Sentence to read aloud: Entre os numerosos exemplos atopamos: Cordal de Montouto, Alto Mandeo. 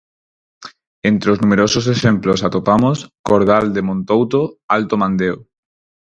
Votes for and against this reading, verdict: 4, 0, accepted